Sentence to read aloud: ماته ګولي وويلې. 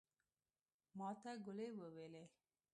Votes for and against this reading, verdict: 1, 2, rejected